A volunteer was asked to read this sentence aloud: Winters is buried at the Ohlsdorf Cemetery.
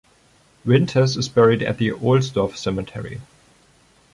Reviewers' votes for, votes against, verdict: 2, 0, accepted